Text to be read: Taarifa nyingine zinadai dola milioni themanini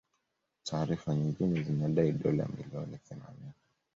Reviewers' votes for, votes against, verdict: 2, 0, accepted